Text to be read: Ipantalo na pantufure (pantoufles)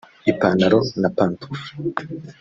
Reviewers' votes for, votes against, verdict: 0, 2, rejected